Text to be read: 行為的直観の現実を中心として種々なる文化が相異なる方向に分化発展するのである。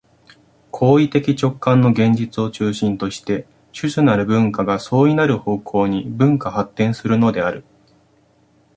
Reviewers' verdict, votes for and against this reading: accepted, 2, 0